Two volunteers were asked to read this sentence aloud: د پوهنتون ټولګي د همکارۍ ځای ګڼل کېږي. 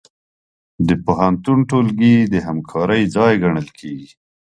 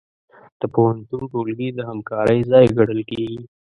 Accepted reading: first